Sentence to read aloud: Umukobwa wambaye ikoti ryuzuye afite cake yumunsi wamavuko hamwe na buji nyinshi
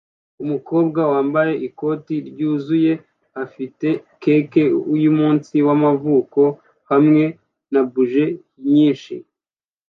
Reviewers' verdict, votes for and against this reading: accepted, 2, 0